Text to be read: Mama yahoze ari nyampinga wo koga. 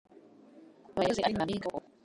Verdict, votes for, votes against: rejected, 0, 2